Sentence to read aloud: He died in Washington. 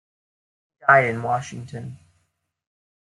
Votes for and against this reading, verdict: 1, 2, rejected